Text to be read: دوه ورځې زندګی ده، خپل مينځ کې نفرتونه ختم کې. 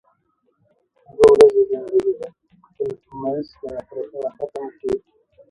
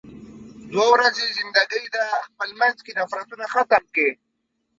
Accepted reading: second